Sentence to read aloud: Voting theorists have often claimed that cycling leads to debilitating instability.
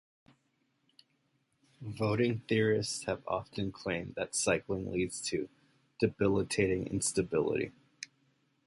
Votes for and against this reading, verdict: 2, 0, accepted